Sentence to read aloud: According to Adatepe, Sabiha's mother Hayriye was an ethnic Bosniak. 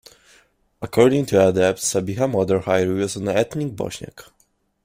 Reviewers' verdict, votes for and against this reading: accepted, 2, 0